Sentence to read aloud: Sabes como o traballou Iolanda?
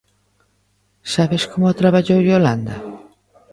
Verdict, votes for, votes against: accepted, 2, 1